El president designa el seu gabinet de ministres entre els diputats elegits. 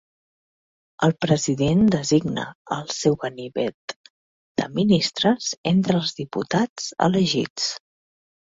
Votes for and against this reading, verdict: 0, 2, rejected